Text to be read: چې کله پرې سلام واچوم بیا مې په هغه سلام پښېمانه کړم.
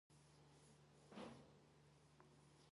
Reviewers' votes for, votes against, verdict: 0, 2, rejected